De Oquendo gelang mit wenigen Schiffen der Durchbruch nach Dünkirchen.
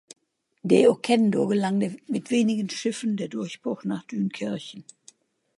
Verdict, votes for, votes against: rejected, 1, 2